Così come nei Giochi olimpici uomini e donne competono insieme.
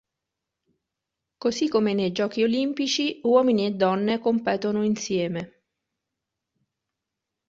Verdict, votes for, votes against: accepted, 2, 0